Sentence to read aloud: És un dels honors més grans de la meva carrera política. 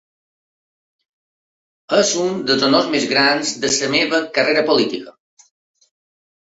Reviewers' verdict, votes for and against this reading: accepted, 2, 0